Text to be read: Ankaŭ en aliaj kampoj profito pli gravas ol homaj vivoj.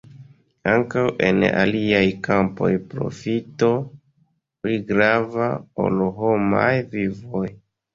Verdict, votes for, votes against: rejected, 0, 2